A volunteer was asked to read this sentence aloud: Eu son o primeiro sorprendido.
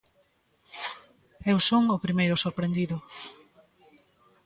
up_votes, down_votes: 2, 0